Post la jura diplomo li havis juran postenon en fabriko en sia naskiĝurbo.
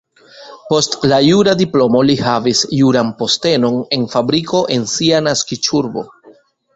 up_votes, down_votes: 1, 2